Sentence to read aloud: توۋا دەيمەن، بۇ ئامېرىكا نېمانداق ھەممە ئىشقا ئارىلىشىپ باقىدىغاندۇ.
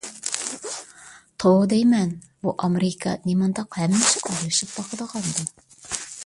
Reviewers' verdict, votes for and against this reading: rejected, 1, 2